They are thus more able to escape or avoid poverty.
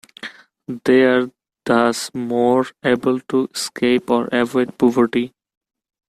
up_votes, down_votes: 2, 1